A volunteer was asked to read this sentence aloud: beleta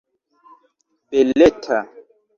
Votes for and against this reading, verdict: 2, 0, accepted